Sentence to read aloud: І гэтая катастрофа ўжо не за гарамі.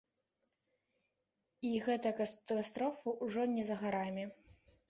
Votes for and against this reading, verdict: 1, 2, rejected